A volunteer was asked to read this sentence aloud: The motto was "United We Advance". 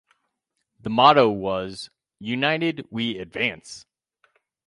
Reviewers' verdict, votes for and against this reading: accepted, 4, 0